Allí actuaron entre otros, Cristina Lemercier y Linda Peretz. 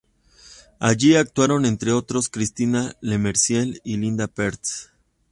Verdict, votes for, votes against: accepted, 2, 0